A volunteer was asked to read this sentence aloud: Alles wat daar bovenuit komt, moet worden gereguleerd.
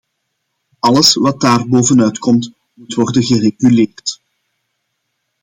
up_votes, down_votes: 2, 1